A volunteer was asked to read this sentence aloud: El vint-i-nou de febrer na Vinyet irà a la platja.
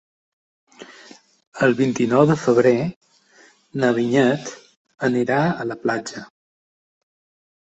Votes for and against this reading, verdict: 1, 3, rejected